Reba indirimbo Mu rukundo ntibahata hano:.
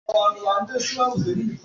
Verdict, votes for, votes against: rejected, 0, 3